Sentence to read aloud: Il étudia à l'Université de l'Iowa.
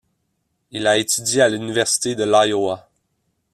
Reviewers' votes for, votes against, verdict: 1, 2, rejected